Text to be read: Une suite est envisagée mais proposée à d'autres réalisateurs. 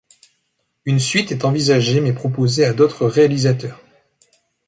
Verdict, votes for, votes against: accepted, 2, 0